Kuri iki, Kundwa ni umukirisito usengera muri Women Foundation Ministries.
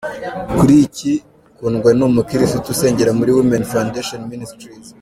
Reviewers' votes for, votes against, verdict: 3, 1, accepted